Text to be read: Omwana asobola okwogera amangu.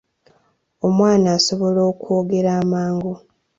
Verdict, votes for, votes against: accepted, 2, 0